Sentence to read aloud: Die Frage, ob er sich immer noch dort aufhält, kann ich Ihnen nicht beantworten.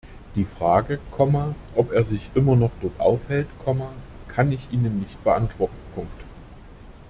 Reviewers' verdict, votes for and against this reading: rejected, 0, 3